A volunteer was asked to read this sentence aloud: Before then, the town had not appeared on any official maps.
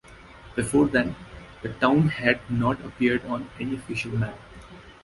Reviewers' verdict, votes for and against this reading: rejected, 0, 2